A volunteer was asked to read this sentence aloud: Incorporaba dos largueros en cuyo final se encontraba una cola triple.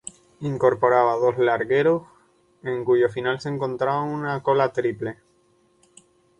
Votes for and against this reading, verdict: 8, 2, accepted